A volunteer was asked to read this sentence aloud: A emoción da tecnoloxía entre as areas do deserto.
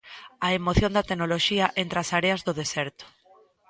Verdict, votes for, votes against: accepted, 2, 0